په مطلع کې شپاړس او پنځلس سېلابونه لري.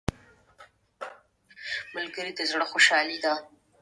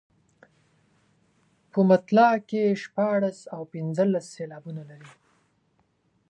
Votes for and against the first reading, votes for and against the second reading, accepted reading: 1, 2, 2, 0, second